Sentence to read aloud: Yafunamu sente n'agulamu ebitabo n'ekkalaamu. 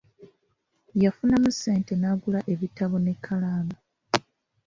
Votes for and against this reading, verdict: 1, 2, rejected